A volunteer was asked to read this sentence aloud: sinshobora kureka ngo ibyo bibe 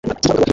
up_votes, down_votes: 0, 2